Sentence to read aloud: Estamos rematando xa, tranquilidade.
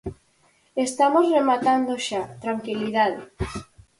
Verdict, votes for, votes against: accepted, 4, 0